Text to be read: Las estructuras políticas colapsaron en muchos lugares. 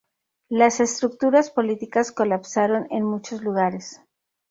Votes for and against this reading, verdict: 2, 0, accepted